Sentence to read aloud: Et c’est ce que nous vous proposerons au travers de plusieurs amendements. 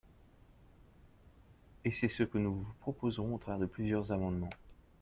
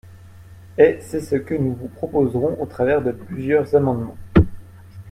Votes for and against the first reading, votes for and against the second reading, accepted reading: 0, 2, 2, 0, second